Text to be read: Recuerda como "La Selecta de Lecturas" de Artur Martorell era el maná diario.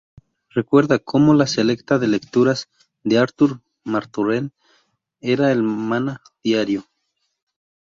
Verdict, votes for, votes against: rejected, 2, 2